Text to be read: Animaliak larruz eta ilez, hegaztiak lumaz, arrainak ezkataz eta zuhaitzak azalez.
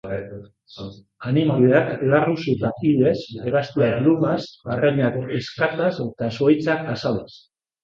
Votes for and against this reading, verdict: 0, 2, rejected